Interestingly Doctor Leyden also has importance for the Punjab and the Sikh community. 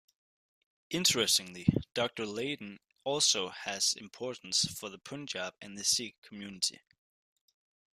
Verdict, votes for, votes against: accepted, 2, 0